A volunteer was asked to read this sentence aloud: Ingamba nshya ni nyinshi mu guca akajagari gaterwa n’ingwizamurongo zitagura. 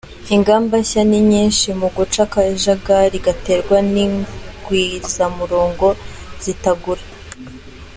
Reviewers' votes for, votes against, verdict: 2, 0, accepted